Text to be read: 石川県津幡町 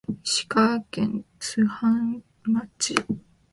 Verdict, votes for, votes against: rejected, 2, 3